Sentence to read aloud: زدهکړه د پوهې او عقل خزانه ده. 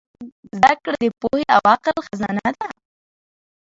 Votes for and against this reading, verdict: 2, 0, accepted